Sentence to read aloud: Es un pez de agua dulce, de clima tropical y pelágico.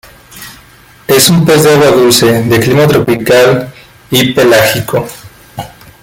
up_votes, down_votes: 2, 0